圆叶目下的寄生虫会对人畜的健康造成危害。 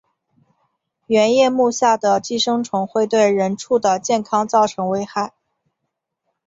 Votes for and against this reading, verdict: 2, 0, accepted